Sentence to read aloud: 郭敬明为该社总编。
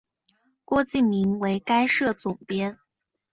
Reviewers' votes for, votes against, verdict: 2, 0, accepted